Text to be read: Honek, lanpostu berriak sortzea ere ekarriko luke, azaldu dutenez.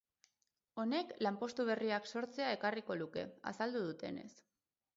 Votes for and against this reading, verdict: 4, 2, accepted